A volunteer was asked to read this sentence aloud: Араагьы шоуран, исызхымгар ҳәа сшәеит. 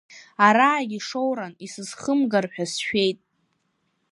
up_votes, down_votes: 2, 0